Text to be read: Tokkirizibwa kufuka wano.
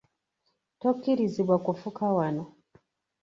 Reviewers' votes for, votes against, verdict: 2, 0, accepted